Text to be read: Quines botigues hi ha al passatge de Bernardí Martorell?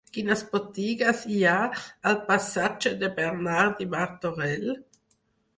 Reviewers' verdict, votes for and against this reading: accepted, 4, 0